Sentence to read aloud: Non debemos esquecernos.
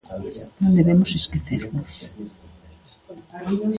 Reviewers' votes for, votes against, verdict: 2, 0, accepted